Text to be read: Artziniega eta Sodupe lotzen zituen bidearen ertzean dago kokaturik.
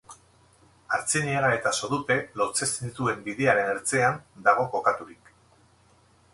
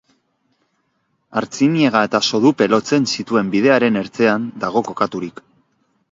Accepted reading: second